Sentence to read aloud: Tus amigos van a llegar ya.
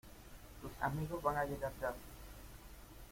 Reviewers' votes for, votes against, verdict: 2, 0, accepted